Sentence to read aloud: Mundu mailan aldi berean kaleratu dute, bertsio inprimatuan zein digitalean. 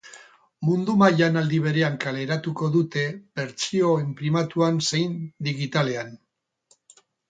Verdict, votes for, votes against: rejected, 0, 6